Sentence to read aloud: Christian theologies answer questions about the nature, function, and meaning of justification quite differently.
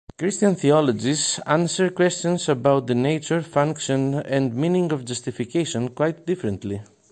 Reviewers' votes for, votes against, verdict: 2, 0, accepted